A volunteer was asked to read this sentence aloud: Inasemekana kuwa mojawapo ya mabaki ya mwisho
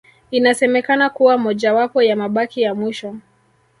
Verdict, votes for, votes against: rejected, 0, 2